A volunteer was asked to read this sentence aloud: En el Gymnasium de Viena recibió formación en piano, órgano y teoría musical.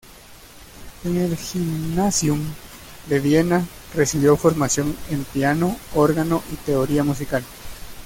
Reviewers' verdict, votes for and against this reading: accepted, 2, 0